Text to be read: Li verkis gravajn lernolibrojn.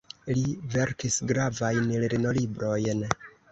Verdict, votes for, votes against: accepted, 2, 1